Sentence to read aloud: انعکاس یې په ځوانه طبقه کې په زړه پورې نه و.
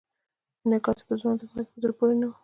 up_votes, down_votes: 2, 0